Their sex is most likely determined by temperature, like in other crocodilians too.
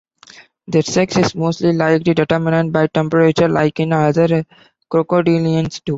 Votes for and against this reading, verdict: 2, 1, accepted